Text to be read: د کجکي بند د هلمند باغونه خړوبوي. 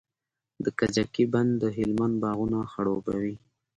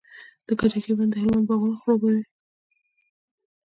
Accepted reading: first